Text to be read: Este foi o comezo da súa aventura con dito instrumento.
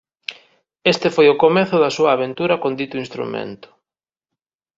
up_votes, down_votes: 2, 0